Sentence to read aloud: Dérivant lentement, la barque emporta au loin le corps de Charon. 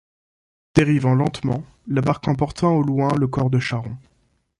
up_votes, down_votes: 2, 0